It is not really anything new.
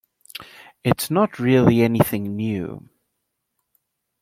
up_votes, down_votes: 1, 2